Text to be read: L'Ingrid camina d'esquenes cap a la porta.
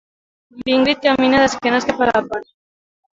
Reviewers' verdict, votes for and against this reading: rejected, 1, 2